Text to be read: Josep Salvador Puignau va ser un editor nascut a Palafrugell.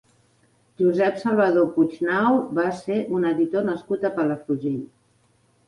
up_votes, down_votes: 3, 0